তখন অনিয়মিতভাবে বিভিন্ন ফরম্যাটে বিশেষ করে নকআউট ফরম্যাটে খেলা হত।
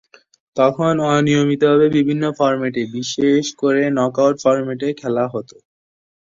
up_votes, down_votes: 2, 0